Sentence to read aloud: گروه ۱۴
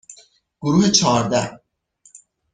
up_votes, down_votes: 0, 2